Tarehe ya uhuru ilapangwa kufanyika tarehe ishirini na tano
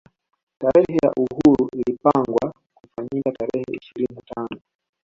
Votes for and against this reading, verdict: 2, 0, accepted